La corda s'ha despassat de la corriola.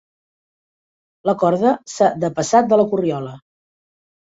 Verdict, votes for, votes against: rejected, 0, 2